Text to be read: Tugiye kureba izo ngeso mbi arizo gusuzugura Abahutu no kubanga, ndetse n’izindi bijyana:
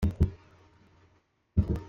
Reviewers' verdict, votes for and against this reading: rejected, 0, 2